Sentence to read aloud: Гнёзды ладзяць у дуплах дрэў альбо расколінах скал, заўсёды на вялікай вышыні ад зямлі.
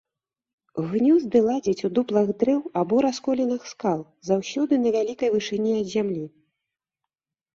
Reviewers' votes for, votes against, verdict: 2, 0, accepted